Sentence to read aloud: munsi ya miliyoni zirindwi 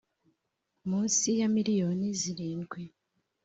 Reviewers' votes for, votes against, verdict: 3, 0, accepted